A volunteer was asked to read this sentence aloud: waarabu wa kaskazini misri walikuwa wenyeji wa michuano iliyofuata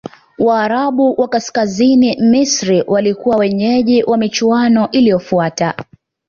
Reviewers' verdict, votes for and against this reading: accepted, 2, 0